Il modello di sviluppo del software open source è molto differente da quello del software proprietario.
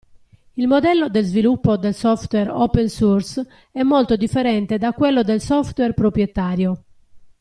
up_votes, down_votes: 0, 2